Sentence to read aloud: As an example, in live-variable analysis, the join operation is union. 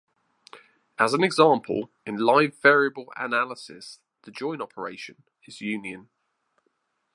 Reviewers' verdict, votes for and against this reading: accepted, 2, 0